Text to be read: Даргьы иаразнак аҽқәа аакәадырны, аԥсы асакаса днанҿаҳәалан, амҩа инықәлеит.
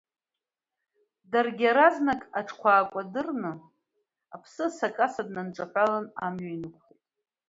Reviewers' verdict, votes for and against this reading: rejected, 1, 2